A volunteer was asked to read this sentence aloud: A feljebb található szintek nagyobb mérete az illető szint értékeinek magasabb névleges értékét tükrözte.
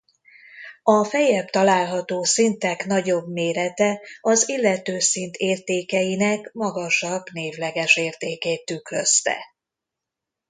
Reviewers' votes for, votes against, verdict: 2, 0, accepted